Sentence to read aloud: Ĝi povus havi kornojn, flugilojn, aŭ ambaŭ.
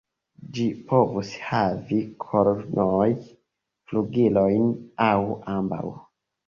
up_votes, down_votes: 0, 2